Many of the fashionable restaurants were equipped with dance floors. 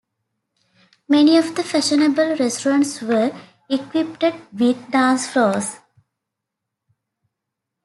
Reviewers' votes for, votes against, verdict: 2, 0, accepted